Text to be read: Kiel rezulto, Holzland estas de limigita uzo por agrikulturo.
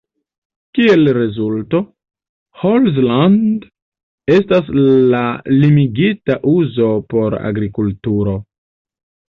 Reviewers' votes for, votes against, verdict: 0, 2, rejected